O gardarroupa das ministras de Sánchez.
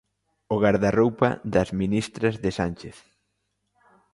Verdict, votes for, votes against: accepted, 2, 0